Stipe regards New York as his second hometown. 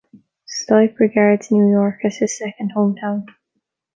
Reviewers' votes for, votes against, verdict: 2, 0, accepted